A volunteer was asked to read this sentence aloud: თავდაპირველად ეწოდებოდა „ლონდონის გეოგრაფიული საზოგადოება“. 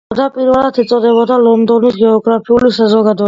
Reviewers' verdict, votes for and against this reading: accepted, 2, 1